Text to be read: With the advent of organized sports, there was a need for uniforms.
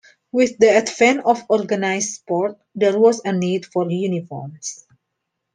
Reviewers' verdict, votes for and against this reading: accepted, 2, 0